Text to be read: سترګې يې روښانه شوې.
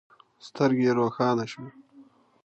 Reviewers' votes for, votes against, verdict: 2, 0, accepted